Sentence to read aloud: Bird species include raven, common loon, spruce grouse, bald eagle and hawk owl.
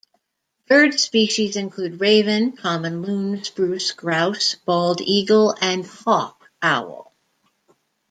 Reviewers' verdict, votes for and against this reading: accepted, 2, 0